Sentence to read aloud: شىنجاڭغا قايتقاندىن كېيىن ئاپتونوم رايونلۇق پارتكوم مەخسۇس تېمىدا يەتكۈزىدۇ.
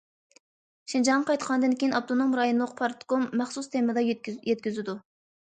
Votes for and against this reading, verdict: 0, 2, rejected